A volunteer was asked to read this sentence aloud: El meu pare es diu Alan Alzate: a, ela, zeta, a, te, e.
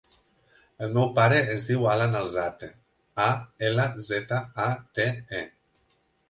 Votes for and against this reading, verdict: 2, 0, accepted